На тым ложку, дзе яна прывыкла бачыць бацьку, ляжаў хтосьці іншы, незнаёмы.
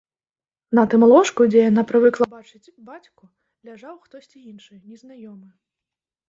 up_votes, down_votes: 1, 3